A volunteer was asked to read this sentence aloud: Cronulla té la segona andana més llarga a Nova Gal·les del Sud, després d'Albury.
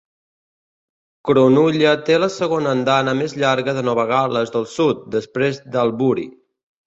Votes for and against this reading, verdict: 2, 3, rejected